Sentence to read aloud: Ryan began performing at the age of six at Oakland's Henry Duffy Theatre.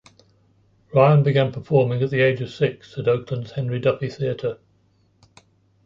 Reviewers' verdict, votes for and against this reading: accepted, 2, 1